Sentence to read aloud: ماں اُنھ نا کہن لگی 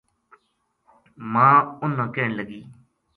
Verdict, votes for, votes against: accepted, 2, 0